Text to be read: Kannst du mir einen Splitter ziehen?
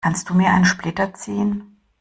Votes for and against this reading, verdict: 2, 0, accepted